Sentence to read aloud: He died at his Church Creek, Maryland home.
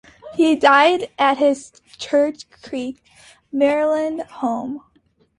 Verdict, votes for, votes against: accepted, 2, 0